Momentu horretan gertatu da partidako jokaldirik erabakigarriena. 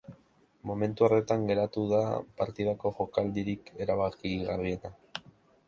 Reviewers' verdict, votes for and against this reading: rejected, 0, 2